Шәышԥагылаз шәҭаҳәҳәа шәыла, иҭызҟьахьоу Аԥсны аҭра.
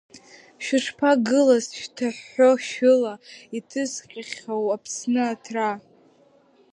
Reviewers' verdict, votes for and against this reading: rejected, 0, 2